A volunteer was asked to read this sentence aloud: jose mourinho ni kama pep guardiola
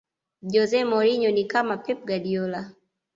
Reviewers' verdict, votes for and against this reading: accepted, 2, 0